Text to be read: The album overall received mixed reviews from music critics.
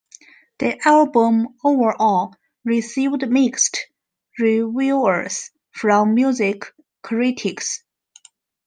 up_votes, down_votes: 1, 2